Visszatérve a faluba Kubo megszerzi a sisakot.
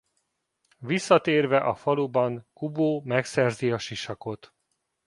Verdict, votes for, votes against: rejected, 0, 2